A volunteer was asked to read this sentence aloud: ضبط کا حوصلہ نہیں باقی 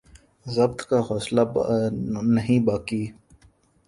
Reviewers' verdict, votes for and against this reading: rejected, 0, 2